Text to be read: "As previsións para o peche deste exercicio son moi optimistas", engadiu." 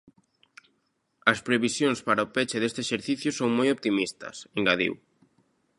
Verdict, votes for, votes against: accepted, 2, 0